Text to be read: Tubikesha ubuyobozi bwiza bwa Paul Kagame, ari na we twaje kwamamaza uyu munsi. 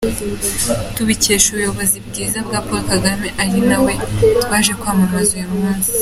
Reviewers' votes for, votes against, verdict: 2, 0, accepted